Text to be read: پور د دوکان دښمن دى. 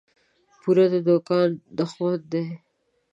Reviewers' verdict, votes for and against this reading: accepted, 2, 0